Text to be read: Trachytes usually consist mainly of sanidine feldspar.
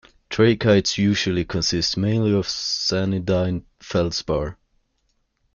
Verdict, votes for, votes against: rejected, 1, 2